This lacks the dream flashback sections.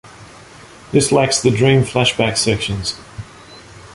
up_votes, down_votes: 2, 0